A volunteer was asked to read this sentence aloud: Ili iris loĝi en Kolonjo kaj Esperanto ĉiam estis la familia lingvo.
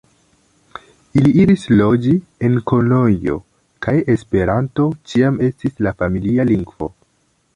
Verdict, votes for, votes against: accepted, 2, 0